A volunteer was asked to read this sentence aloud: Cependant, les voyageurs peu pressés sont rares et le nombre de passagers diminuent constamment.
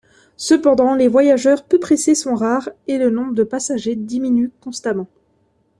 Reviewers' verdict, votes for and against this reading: accepted, 2, 0